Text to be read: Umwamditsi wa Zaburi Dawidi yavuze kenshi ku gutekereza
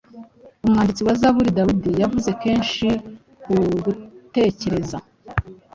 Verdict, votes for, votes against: accepted, 2, 0